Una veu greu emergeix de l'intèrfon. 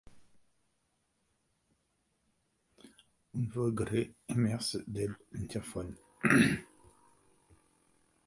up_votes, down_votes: 0, 2